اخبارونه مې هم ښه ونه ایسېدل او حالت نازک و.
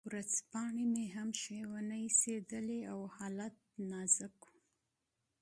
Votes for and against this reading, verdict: 2, 0, accepted